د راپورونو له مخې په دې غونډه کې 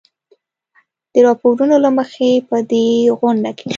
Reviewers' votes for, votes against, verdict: 2, 0, accepted